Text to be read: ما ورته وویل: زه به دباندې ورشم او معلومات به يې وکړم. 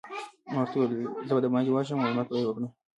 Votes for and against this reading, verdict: 2, 1, accepted